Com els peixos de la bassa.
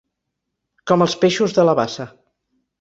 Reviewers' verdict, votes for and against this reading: accepted, 3, 0